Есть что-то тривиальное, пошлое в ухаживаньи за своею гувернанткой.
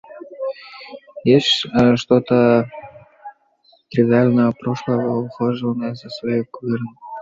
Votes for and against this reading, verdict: 1, 2, rejected